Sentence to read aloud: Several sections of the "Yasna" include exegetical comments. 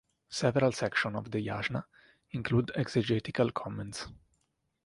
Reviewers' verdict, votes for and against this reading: accepted, 2, 0